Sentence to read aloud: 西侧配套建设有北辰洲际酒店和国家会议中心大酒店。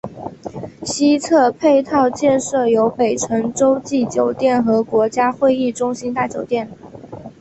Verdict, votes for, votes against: accepted, 2, 1